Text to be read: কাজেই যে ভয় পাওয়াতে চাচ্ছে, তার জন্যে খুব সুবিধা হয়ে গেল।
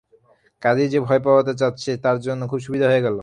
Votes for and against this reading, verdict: 0, 3, rejected